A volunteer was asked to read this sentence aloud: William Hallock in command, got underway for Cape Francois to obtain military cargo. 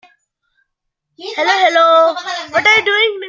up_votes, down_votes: 1, 2